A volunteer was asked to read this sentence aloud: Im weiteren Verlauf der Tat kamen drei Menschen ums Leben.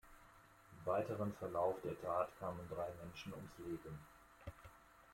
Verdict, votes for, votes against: accepted, 2, 0